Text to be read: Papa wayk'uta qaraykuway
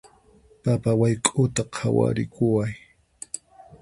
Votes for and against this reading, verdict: 0, 4, rejected